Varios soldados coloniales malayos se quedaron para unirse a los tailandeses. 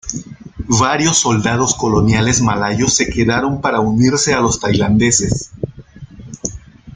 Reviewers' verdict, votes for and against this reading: accepted, 2, 0